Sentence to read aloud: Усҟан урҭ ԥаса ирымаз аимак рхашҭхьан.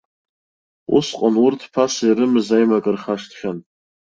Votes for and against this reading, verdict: 2, 0, accepted